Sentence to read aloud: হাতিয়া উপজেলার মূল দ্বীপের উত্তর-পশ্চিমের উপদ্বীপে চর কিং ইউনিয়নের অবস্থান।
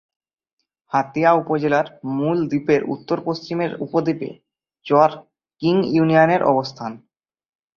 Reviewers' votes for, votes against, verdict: 2, 0, accepted